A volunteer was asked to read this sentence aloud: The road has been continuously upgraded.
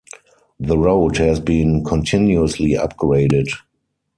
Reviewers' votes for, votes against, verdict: 4, 0, accepted